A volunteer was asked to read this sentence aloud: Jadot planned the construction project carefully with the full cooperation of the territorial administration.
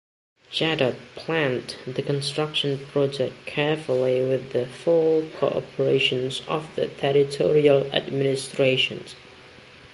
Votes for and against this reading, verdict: 1, 2, rejected